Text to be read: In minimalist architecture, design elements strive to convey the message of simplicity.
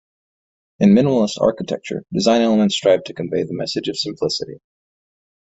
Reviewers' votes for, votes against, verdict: 2, 0, accepted